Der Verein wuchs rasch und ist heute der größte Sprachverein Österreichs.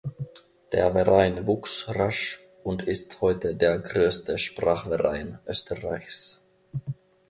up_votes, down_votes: 1, 2